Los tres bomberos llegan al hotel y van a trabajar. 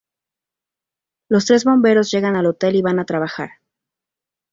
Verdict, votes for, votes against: accepted, 2, 0